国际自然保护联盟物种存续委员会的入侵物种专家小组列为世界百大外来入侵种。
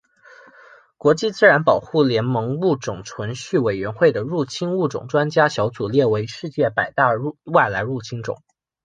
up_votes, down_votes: 2, 0